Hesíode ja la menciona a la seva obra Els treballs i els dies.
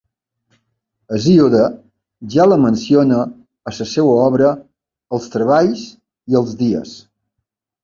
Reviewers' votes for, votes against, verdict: 1, 3, rejected